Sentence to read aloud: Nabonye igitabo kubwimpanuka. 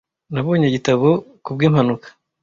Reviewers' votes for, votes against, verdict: 2, 0, accepted